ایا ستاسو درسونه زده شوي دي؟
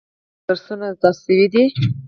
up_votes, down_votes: 0, 4